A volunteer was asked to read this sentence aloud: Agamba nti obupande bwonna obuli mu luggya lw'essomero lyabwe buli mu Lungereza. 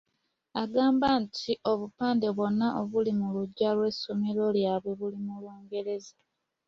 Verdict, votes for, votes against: accepted, 2, 0